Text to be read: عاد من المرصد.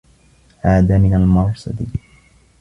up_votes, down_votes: 2, 1